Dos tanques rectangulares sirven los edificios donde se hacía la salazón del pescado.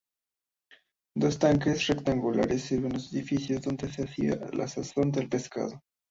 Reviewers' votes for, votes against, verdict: 0, 2, rejected